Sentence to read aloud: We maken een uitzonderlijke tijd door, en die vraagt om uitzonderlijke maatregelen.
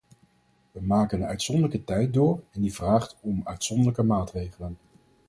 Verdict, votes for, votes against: rejected, 2, 2